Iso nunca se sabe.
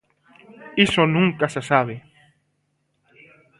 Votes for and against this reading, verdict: 0, 2, rejected